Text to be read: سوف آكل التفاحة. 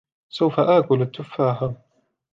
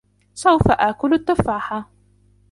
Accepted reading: first